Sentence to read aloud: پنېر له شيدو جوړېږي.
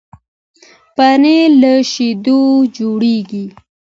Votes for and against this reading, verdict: 2, 1, accepted